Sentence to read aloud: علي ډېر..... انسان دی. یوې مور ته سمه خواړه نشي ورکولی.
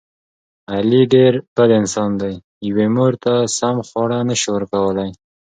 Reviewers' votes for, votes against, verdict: 3, 0, accepted